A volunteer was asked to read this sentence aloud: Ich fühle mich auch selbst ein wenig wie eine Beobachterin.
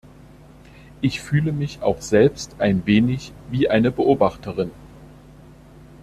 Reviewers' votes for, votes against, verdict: 2, 0, accepted